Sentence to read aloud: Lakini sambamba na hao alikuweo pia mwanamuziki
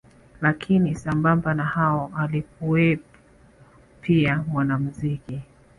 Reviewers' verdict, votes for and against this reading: accepted, 4, 0